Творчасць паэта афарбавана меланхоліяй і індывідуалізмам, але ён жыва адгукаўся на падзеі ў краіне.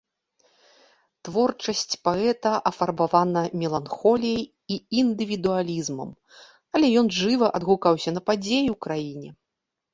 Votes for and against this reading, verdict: 2, 0, accepted